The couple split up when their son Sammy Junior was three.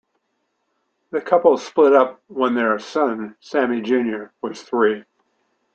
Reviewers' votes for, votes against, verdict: 2, 0, accepted